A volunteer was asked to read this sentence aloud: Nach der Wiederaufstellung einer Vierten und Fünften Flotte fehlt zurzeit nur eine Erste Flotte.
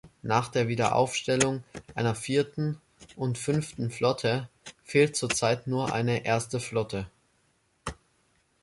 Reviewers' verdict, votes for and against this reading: accepted, 3, 0